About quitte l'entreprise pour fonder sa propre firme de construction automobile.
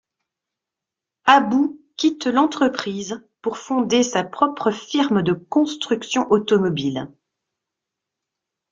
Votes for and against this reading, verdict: 2, 0, accepted